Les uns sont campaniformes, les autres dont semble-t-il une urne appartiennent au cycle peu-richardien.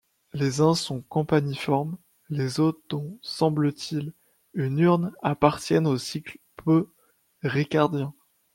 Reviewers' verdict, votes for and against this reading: rejected, 1, 2